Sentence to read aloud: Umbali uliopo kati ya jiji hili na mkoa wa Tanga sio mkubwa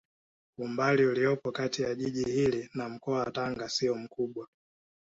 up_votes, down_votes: 1, 2